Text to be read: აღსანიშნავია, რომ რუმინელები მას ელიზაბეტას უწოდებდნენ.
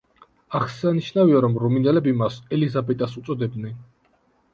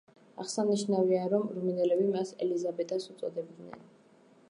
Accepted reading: first